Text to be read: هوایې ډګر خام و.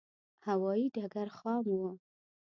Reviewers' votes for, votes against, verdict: 2, 0, accepted